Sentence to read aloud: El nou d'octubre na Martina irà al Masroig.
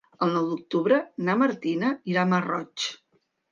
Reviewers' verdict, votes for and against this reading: rejected, 1, 2